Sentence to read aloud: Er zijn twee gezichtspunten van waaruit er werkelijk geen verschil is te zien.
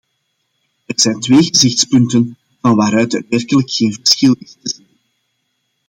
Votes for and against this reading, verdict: 0, 2, rejected